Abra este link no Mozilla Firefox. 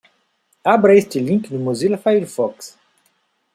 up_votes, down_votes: 2, 0